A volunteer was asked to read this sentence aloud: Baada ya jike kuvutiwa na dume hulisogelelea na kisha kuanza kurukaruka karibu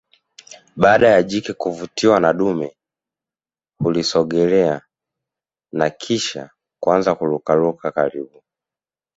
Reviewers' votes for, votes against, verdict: 2, 0, accepted